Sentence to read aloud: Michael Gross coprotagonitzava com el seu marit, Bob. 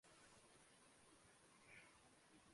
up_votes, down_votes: 0, 2